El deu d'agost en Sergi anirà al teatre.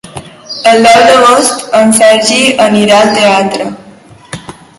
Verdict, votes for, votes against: rejected, 0, 2